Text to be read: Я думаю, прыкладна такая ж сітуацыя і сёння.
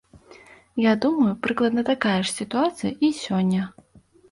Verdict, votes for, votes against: accepted, 2, 0